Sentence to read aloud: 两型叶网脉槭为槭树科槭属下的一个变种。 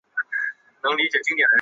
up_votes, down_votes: 0, 4